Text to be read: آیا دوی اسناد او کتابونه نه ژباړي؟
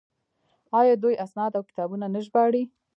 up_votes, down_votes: 0, 2